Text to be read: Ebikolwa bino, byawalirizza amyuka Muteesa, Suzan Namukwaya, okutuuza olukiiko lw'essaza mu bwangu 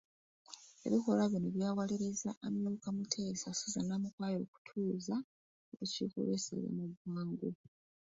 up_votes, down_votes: 0, 2